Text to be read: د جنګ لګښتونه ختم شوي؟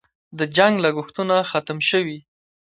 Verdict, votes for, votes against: accepted, 2, 0